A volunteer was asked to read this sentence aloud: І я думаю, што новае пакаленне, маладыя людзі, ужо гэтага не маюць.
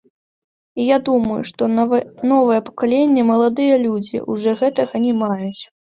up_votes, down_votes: 1, 2